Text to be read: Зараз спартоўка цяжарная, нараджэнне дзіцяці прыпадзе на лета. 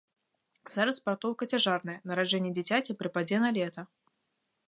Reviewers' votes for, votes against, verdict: 2, 0, accepted